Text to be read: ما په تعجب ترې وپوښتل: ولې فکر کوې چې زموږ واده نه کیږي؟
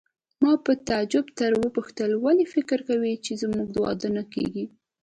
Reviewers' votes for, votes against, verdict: 1, 2, rejected